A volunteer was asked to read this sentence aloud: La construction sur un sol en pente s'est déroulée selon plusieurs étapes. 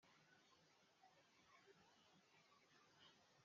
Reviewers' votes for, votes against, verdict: 0, 2, rejected